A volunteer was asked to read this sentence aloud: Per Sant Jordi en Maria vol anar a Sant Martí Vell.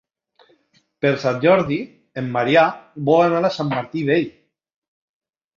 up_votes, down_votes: 1, 2